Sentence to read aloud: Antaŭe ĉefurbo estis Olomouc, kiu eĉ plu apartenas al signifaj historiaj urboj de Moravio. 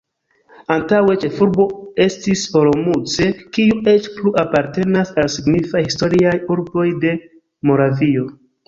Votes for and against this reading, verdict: 2, 1, accepted